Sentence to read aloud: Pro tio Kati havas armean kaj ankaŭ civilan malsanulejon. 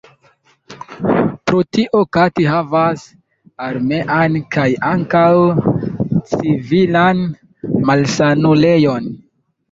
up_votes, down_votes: 1, 2